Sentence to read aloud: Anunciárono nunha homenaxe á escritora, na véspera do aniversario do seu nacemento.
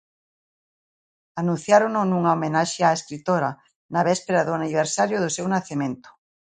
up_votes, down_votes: 0, 2